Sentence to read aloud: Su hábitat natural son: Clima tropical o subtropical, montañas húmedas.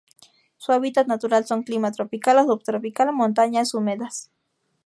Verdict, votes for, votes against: rejected, 0, 2